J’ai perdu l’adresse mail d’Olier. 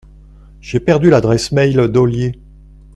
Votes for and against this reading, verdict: 2, 0, accepted